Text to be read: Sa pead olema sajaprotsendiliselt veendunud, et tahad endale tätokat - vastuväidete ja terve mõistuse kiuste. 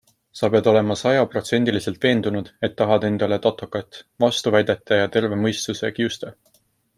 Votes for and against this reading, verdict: 2, 1, accepted